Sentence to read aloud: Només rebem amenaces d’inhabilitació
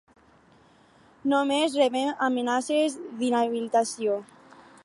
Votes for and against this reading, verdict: 8, 0, accepted